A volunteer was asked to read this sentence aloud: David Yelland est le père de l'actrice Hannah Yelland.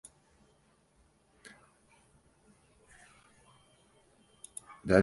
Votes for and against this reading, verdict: 0, 2, rejected